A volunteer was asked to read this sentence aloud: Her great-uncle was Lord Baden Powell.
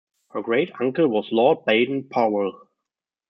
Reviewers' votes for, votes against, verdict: 0, 2, rejected